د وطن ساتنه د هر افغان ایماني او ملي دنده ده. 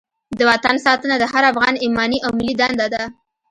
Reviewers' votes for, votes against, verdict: 2, 0, accepted